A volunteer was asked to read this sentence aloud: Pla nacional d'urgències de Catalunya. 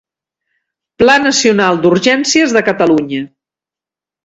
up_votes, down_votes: 2, 0